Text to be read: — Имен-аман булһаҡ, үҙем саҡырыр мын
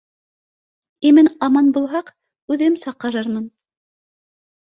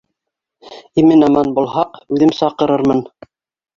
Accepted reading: first